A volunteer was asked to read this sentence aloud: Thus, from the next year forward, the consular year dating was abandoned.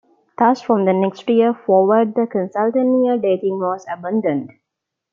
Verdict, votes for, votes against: rejected, 0, 2